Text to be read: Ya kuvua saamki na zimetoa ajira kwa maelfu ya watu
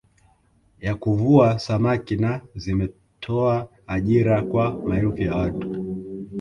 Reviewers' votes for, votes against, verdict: 0, 2, rejected